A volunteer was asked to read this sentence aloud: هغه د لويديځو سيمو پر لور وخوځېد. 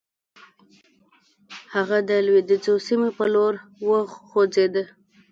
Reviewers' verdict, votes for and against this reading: rejected, 1, 2